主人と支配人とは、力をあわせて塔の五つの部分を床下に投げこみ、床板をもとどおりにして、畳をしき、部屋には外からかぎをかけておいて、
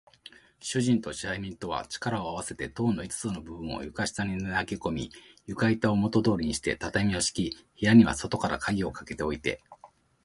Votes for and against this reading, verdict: 2, 0, accepted